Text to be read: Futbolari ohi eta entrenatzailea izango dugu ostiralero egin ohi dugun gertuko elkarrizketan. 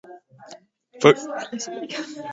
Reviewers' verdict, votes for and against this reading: rejected, 0, 2